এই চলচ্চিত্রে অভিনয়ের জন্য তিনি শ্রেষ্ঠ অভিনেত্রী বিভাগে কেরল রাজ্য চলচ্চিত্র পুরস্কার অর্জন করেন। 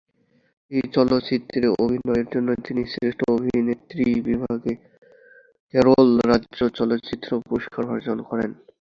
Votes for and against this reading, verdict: 0, 2, rejected